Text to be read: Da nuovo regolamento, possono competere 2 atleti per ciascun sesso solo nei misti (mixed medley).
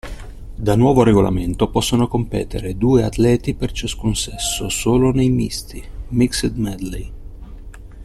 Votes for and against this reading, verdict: 0, 2, rejected